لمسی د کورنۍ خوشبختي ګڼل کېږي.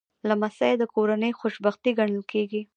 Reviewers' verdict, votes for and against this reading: accepted, 2, 0